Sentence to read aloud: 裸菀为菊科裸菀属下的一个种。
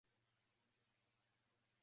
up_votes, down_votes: 0, 2